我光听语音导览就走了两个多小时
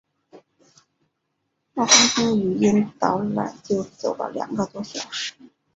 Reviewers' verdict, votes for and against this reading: accepted, 6, 1